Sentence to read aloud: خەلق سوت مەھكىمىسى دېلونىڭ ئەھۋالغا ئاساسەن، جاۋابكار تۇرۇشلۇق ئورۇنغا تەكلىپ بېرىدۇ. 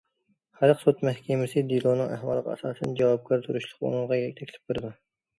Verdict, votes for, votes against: rejected, 1, 2